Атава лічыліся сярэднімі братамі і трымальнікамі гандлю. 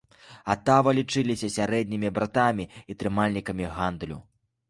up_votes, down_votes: 2, 0